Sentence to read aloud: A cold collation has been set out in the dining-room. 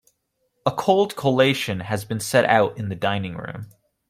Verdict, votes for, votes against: accepted, 2, 0